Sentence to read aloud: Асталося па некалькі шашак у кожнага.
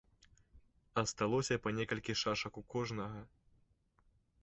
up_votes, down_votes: 2, 0